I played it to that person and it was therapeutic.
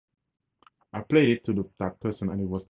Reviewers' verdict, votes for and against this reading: rejected, 0, 4